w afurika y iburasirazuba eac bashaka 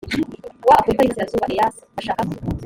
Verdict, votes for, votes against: rejected, 1, 2